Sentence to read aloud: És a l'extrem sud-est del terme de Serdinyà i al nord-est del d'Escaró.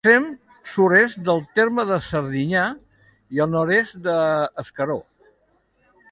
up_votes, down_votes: 1, 2